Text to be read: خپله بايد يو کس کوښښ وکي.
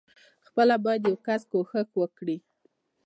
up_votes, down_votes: 2, 0